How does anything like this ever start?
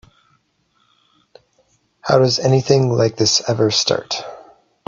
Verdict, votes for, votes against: accepted, 2, 0